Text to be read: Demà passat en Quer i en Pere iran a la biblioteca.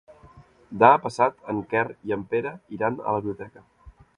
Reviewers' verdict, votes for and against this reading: rejected, 0, 2